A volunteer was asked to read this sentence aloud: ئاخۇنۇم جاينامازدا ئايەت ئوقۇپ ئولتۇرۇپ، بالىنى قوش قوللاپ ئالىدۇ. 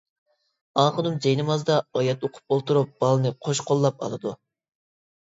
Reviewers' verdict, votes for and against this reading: rejected, 1, 2